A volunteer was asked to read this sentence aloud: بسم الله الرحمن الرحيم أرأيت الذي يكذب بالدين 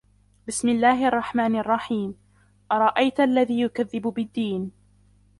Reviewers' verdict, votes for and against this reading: rejected, 1, 2